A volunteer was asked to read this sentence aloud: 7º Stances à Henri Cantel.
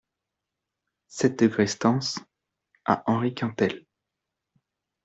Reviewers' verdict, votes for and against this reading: rejected, 0, 2